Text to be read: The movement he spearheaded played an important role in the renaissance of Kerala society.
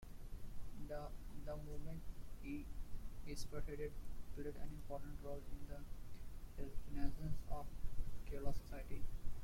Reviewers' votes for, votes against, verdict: 1, 2, rejected